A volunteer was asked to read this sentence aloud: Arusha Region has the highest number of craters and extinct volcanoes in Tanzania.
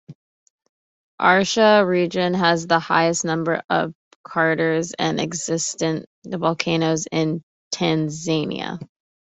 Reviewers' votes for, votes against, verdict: 0, 2, rejected